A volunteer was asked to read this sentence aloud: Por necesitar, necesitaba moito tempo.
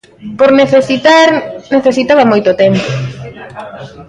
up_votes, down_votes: 0, 2